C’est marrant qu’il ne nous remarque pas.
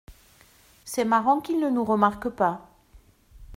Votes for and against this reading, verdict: 2, 0, accepted